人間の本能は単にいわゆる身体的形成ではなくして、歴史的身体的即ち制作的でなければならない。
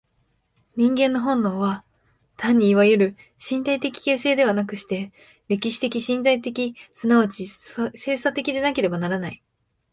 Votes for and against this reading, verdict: 0, 3, rejected